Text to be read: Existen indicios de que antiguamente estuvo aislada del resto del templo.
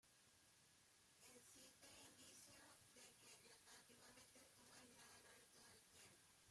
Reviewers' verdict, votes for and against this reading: rejected, 0, 2